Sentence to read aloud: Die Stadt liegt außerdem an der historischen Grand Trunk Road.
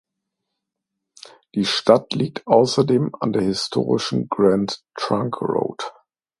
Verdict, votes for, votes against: accepted, 2, 0